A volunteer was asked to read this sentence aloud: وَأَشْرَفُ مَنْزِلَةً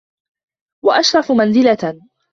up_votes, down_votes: 2, 0